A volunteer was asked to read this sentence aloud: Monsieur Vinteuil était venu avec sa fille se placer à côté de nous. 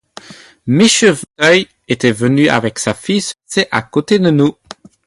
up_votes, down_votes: 2, 2